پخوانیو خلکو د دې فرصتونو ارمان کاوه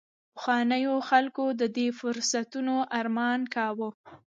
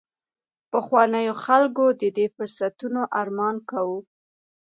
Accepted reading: second